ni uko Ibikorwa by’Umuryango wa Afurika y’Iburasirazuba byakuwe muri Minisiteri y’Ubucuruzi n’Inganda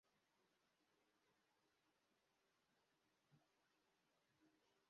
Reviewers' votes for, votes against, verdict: 0, 2, rejected